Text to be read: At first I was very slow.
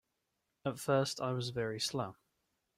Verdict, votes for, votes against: accepted, 2, 0